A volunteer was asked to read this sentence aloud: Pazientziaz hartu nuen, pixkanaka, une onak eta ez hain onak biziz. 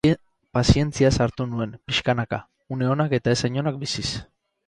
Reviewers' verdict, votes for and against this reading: rejected, 2, 4